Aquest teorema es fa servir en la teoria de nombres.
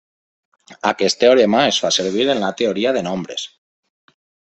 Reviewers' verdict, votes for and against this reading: accepted, 2, 0